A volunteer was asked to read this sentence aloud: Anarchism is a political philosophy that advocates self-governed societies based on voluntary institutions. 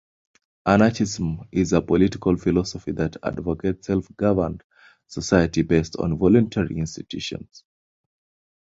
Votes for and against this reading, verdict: 2, 0, accepted